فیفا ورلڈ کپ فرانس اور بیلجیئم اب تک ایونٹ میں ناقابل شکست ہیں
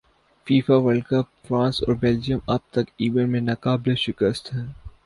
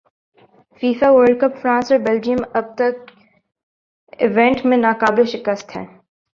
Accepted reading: first